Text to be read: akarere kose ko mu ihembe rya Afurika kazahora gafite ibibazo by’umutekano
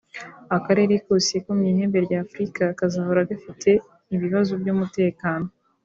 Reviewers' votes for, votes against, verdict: 2, 0, accepted